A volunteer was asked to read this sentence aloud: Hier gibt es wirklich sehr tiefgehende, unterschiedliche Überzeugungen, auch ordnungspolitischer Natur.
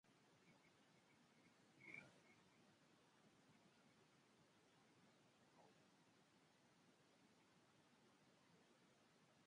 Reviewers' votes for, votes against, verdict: 0, 2, rejected